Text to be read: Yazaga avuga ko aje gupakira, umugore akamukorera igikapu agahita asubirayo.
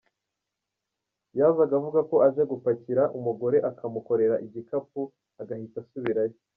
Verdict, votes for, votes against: accepted, 2, 0